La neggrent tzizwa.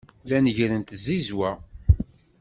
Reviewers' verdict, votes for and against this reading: accepted, 2, 0